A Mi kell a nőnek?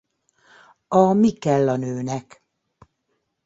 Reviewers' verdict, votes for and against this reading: accepted, 2, 0